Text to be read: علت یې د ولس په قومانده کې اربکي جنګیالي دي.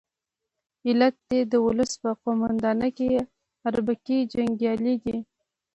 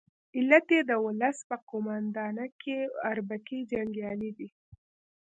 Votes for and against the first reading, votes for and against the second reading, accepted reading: 2, 0, 0, 2, first